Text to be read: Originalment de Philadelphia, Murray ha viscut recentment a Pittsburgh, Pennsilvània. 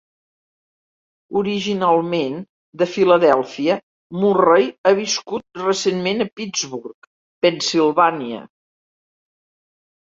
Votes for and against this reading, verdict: 2, 0, accepted